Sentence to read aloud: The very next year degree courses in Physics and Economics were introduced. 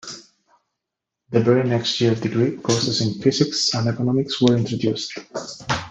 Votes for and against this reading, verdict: 2, 0, accepted